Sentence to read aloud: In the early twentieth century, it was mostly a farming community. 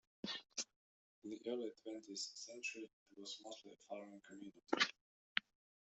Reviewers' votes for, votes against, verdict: 1, 2, rejected